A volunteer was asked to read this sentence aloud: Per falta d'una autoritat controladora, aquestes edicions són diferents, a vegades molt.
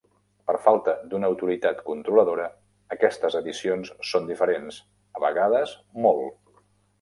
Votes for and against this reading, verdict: 3, 0, accepted